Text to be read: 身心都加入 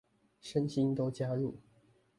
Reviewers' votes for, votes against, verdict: 1, 2, rejected